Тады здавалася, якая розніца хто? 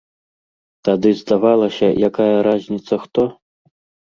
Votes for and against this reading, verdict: 0, 2, rejected